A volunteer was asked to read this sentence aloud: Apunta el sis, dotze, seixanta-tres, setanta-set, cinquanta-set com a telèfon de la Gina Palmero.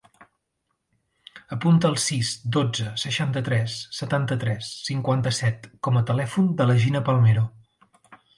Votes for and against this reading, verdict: 1, 2, rejected